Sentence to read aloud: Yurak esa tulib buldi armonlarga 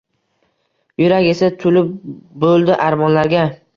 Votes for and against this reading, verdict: 2, 0, accepted